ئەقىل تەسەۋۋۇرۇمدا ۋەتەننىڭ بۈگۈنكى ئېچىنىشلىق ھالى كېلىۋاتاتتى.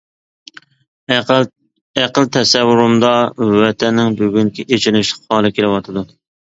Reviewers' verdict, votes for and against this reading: rejected, 1, 2